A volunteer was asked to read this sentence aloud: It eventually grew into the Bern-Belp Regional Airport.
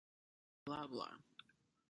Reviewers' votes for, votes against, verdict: 0, 2, rejected